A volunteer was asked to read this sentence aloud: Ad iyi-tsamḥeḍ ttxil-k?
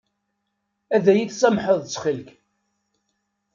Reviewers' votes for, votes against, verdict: 1, 2, rejected